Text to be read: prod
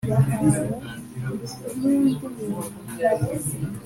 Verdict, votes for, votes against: rejected, 0, 2